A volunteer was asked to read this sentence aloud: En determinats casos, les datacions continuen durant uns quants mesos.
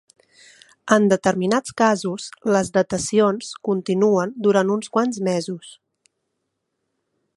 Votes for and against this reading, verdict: 4, 0, accepted